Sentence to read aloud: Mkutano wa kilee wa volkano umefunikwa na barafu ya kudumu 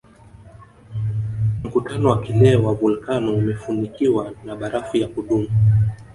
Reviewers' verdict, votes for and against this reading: rejected, 1, 2